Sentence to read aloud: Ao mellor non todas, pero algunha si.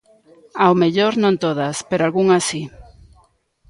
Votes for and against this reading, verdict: 1, 2, rejected